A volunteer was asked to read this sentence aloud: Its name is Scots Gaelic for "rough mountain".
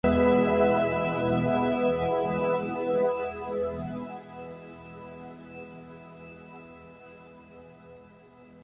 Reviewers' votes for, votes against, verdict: 0, 4, rejected